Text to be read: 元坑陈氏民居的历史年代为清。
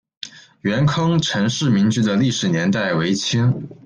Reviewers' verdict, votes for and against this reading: rejected, 1, 2